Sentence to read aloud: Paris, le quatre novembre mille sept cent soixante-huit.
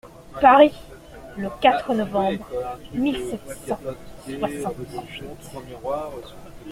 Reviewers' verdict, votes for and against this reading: accepted, 2, 0